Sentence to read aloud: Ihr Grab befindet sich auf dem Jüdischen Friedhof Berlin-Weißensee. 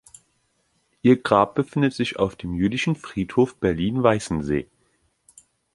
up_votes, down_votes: 2, 0